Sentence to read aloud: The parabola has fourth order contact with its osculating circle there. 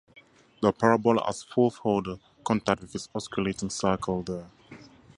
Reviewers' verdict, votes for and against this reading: accepted, 2, 0